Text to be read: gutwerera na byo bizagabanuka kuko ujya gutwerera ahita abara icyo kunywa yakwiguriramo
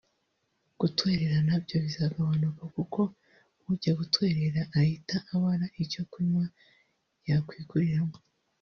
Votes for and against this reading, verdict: 2, 1, accepted